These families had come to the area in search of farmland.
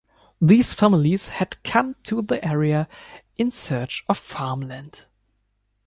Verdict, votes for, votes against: accepted, 2, 0